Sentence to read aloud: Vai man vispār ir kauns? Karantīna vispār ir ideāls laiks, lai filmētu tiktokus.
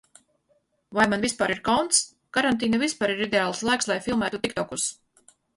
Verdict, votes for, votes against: rejected, 0, 4